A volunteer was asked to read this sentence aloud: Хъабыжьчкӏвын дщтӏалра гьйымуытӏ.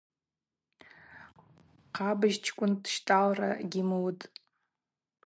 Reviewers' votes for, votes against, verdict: 4, 0, accepted